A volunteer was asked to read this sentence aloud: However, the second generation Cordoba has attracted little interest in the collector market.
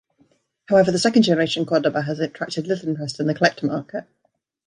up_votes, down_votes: 2, 0